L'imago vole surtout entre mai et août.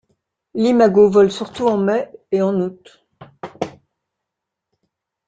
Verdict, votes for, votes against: rejected, 0, 2